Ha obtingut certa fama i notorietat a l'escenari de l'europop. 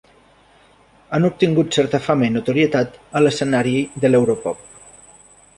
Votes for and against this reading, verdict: 0, 2, rejected